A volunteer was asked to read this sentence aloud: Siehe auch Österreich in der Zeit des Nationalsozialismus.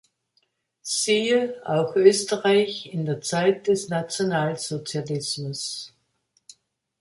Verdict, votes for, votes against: accepted, 2, 0